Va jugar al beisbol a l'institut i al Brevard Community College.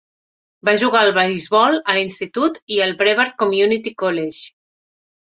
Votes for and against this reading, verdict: 2, 0, accepted